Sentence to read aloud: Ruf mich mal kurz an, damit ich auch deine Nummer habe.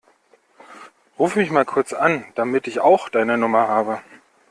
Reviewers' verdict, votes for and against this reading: accepted, 2, 1